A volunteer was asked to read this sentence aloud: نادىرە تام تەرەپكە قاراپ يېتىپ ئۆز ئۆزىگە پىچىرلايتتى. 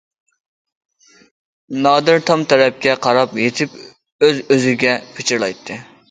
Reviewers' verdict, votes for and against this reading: rejected, 0, 2